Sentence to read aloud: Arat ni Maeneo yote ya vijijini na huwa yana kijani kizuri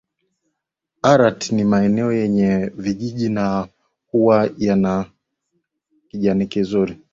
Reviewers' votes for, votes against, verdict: 1, 2, rejected